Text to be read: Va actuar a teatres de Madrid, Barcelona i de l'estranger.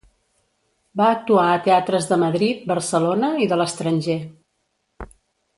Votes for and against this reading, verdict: 2, 0, accepted